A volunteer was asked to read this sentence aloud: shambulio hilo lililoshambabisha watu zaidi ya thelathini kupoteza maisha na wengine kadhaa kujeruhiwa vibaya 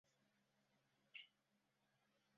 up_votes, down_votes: 0, 2